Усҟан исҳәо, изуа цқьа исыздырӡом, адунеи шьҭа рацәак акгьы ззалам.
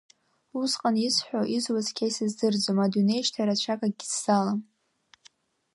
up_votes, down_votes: 2, 1